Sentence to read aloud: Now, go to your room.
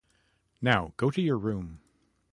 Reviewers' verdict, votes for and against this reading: accepted, 2, 0